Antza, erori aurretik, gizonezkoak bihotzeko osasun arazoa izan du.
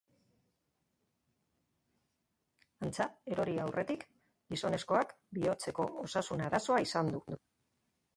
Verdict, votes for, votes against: rejected, 0, 3